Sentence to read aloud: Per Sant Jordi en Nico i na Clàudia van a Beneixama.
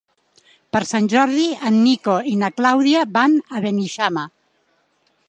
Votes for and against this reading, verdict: 2, 0, accepted